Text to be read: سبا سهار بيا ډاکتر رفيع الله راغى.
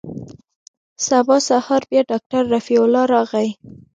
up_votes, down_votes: 2, 0